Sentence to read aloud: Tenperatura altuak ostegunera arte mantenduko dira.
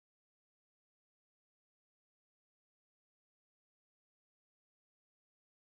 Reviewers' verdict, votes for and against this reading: rejected, 0, 4